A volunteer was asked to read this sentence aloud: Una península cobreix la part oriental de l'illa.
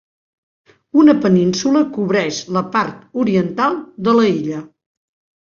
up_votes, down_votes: 0, 2